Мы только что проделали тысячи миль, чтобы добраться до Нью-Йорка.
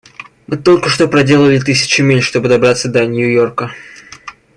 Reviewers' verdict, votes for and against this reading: accepted, 2, 0